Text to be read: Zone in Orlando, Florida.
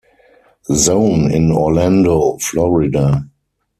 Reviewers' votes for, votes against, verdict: 4, 0, accepted